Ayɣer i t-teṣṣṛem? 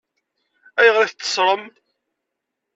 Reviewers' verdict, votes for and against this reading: accepted, 2, 0